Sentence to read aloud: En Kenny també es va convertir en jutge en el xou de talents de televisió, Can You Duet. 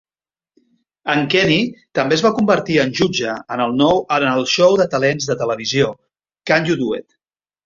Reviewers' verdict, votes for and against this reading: rejected, 0, 2